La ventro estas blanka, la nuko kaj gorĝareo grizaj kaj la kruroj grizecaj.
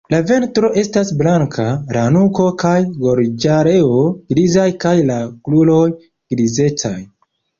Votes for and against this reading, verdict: 1, 2, rejected